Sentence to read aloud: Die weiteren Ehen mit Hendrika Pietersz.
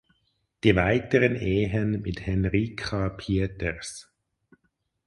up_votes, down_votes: 2, 2